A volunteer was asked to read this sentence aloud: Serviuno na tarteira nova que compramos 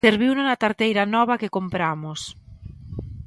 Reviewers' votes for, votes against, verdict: 2, 1, accepted